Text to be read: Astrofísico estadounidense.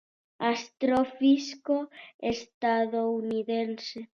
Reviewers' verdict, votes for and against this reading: accepted, 2, 0